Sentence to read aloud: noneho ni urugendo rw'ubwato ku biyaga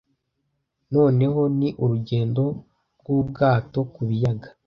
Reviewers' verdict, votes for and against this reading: accepted, 3, 0